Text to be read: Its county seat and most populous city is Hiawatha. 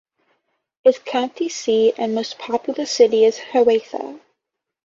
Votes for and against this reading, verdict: 2, 1, accepted